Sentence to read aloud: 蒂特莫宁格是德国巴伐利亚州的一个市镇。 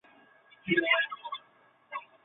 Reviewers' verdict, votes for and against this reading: rejected, 0, 2